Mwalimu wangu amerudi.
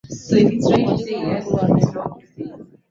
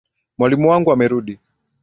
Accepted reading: second